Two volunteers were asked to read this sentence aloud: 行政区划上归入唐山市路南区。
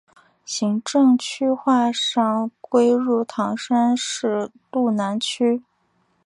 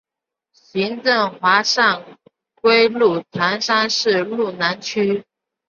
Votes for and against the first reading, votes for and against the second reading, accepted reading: 2, 0, 1, 2, first